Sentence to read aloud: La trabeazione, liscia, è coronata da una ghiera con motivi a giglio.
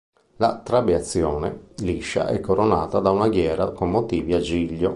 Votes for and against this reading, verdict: 2, 0, accepted